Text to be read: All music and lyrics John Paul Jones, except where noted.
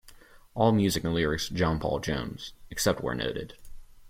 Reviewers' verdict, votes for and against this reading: accepted, 2, 0